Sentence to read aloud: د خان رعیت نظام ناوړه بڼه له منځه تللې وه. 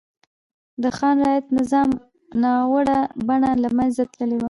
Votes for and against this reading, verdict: 0, 2, rejected